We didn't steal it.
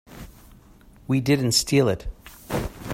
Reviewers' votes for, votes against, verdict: 2, 0, accepted